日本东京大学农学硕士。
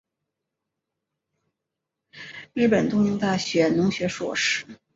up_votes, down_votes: 3, 2